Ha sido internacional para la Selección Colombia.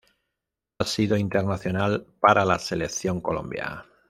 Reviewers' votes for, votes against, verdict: 1, 2, rejected